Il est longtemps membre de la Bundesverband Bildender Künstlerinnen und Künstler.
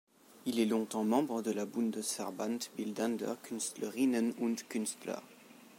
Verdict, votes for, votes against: accepted, 2, 0